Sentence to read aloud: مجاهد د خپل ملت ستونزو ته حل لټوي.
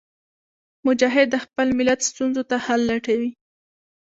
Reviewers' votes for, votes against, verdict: 2, 0, accepted